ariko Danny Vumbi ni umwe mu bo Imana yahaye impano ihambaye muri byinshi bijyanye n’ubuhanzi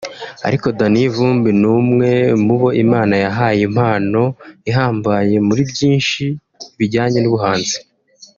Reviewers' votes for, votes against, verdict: 0, 2, rejected